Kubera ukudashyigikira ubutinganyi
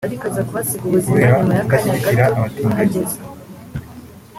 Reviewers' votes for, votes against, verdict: 0, 2, rejected